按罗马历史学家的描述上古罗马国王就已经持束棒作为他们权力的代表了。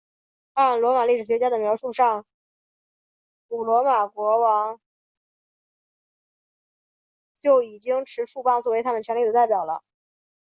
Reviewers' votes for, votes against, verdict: 0, 4, rejected